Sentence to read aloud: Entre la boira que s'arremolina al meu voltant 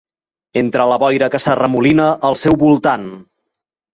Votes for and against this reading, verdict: 0, 2, rejected